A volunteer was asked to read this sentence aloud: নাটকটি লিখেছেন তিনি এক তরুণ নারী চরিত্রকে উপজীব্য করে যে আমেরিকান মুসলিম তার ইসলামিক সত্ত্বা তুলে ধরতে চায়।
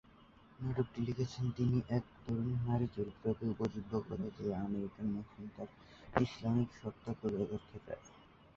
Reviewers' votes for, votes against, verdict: 0, 2, rejected